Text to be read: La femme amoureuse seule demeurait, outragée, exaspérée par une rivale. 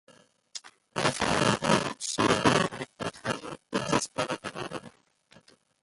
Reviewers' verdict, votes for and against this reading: rejected, 0, 2